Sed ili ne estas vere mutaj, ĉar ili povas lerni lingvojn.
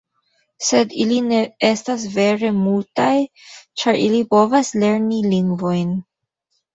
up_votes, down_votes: 1, 2